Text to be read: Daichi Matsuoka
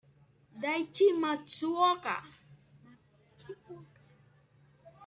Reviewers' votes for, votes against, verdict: 2, 0, accepted